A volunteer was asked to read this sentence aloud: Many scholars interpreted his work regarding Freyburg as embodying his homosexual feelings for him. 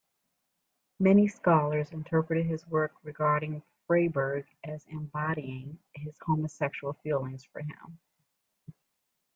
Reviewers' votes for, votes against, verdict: 2, 0, accepted